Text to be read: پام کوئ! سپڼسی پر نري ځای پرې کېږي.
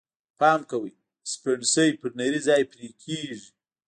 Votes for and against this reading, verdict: 0, 2, rejected